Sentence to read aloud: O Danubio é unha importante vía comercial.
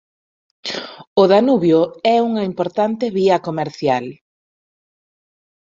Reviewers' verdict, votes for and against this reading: accepted, 2, 1